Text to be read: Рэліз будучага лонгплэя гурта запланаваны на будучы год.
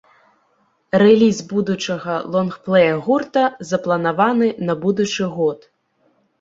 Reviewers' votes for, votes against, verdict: 2, 0, accepted